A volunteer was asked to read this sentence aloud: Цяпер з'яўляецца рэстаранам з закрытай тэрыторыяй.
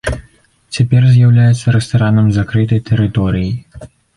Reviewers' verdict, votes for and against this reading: rejected, 1, 2